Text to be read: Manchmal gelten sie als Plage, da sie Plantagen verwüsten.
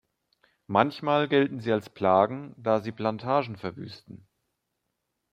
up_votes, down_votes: 1, 2